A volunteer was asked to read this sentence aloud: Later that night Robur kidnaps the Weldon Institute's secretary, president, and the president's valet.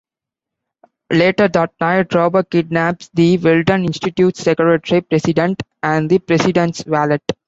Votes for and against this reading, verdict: 0, 2, rejected